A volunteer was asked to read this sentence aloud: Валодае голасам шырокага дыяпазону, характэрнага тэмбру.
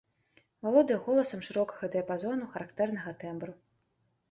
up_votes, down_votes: 2, 0